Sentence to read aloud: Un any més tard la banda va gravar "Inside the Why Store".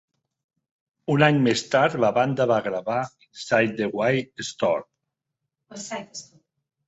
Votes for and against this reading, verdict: 0, 2, rejected